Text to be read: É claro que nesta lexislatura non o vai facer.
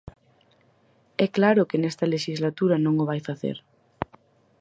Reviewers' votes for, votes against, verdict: 4, 0, accepted